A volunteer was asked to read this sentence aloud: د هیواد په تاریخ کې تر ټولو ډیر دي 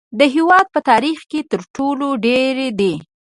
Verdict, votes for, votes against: rejected, 1, 2